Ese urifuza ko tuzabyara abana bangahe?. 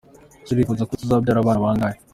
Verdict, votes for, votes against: accepted, 2, 1